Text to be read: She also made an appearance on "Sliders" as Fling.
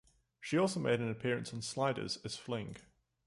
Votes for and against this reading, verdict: 2, 0, accepted